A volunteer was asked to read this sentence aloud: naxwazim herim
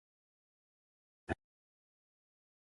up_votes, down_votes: 1, 2